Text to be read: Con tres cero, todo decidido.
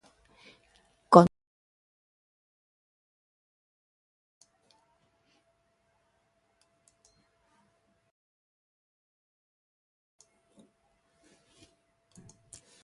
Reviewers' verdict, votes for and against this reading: rejected, 0, 2